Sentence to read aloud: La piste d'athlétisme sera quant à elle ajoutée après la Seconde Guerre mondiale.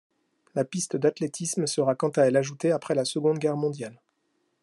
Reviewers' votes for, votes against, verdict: 2, 0, accepted